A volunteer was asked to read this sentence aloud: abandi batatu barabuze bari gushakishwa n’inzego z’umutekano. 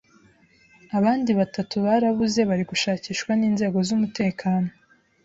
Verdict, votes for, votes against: accepted, 2, 0